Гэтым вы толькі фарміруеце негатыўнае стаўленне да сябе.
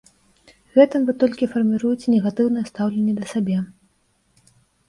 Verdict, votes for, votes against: rejected, 0, 2